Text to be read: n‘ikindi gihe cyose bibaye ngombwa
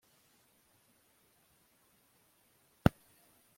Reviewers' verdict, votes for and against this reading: rejected, 0, 3